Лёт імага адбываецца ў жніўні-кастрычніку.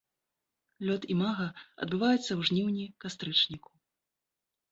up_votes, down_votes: 2, 0